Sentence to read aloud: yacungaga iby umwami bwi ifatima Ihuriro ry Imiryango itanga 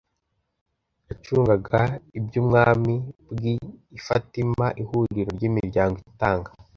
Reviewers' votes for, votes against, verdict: 2, 0, accepted